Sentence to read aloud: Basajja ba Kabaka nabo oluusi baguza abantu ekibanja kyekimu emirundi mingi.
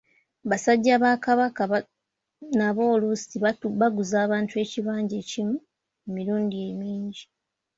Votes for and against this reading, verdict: 2, 0, accepted